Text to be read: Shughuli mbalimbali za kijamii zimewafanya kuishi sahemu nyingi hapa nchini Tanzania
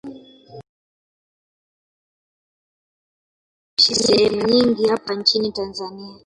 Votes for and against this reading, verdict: 0, 2, rejected